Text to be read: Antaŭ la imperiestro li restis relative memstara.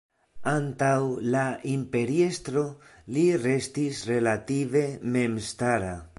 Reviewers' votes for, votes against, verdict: 2, 0, accepted